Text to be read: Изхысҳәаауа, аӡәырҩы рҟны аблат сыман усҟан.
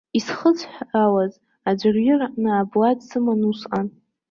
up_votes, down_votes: 1, 2